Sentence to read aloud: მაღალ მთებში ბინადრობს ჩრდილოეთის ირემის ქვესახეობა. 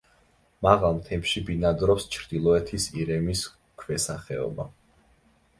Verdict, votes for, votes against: accepted, 2, 0